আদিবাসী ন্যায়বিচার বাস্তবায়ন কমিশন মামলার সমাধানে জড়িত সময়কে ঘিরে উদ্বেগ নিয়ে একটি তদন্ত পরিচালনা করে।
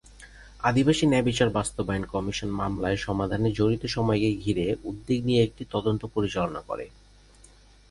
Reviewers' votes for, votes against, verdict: 2, 2, rejected